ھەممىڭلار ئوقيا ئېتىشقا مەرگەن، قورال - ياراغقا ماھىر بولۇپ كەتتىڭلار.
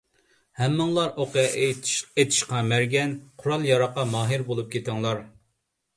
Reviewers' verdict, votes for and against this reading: rejected, 0, 2